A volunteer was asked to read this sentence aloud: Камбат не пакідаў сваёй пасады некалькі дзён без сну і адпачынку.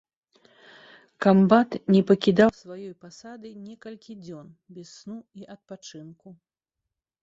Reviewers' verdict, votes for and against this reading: rejected, 1, 2